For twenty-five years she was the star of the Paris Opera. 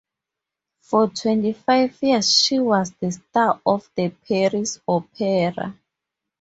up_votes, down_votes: 2, 0